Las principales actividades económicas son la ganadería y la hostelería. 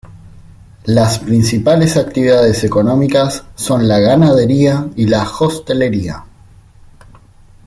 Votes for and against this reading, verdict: 2, 3, rejected